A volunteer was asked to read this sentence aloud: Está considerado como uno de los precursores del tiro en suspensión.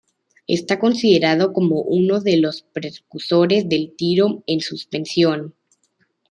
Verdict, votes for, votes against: rejected, 1, 2